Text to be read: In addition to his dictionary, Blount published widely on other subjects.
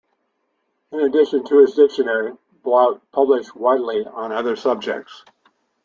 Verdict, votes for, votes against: accepted, 2, 0